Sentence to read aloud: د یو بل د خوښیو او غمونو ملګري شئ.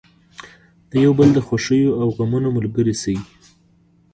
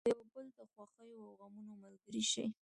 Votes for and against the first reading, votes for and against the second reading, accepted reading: 3, 0, 0, 2, first